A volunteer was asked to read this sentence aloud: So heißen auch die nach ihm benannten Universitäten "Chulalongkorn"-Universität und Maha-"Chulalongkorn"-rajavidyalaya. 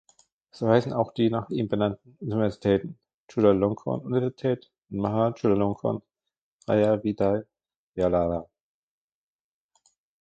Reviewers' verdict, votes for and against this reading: rejected, 0, 2